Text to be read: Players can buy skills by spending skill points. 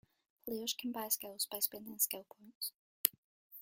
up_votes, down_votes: 2, 1